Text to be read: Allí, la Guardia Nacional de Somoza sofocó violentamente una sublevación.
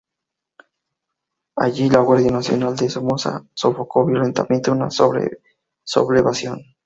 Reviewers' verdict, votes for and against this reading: rejected, 0, 2